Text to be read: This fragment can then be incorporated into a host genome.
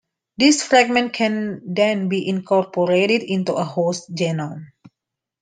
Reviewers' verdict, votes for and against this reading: accepted, 2, 1